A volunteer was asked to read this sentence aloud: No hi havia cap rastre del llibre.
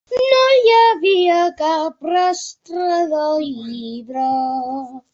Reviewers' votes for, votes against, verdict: 0, 2, rejected